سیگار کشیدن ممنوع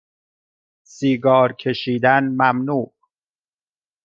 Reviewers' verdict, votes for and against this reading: accepted, 2, 0